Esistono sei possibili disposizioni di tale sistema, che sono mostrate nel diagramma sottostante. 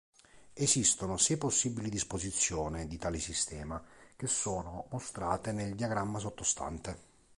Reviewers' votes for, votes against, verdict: 2, 4, rejected